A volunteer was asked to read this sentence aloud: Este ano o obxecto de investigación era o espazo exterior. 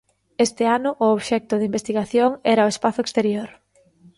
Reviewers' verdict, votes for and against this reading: accepted, 2, 0